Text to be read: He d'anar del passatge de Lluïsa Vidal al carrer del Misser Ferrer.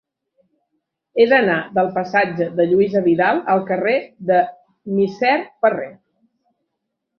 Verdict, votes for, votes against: rejected, 1, 2